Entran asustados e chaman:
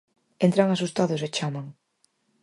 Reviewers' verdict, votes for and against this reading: accepted, 4, 0